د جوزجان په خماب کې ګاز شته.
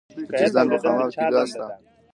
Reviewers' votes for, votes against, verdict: 1, 2, rejected